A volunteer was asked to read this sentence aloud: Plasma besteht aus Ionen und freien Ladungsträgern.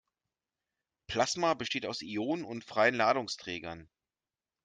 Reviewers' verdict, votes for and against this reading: accepted, 2, 0